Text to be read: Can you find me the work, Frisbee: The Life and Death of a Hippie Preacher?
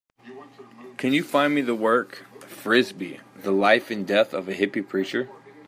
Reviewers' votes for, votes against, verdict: 2, 0, accepted